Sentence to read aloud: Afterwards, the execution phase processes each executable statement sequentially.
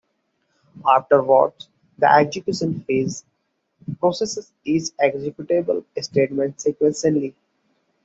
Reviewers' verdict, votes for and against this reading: accepted, 2, 0